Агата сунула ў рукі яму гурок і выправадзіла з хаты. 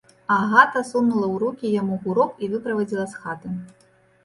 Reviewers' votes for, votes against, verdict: 2, 0, accepted